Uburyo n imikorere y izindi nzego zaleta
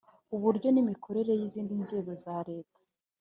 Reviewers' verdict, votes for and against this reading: accepted, 2, 0